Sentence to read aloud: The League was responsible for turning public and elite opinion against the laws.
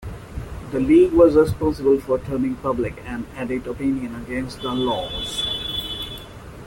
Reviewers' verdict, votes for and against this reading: accepted, 2, 0